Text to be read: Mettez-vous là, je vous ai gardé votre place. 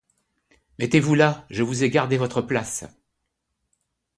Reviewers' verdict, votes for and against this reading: accepted, 2, 0